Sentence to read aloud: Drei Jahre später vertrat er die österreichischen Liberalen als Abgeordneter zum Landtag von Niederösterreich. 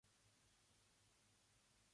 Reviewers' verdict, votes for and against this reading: rejected, 0, 3